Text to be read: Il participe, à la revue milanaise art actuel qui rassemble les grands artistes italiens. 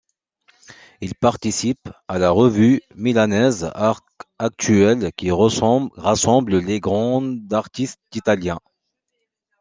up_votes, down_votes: 0, 2